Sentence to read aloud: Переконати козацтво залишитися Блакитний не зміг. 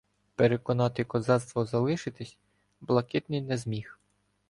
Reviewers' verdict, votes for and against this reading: accepted, 2, 0